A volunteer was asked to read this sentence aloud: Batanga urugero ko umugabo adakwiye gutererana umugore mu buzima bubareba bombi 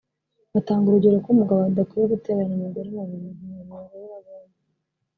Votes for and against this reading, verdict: 0, 2, rejected